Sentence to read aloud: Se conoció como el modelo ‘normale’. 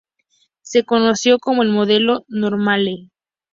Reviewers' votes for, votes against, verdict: 4, 0, accepted